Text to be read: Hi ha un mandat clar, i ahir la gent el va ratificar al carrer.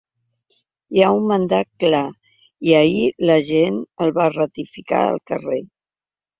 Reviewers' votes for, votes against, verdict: 2, 0, accepted